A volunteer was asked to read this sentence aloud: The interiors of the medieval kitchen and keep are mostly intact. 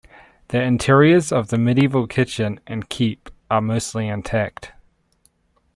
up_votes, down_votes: 2, 0